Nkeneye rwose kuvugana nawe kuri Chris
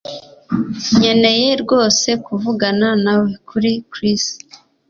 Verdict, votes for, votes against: accepted, 2, 1